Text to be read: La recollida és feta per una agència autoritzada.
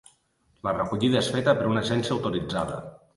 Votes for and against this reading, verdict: 2, 0, accepted